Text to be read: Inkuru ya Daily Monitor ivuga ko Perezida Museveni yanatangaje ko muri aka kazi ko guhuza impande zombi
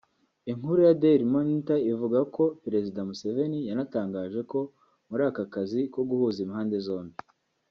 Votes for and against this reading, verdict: 2, 0, accepted